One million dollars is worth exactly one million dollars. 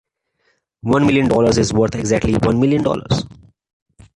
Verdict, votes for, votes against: accepted, 2, 1